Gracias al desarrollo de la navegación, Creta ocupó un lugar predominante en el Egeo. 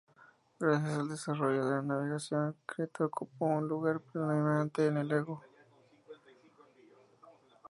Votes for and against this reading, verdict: 2, 0, accepted